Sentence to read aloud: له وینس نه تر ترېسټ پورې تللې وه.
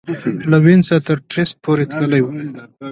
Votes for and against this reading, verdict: 3, 1, accepted